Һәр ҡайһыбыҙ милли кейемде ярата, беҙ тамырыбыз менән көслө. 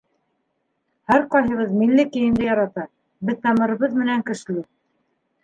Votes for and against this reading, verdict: 3, 2, accepted